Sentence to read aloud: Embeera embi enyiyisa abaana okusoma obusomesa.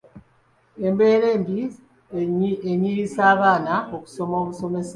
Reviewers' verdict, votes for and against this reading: accepted, 2, 0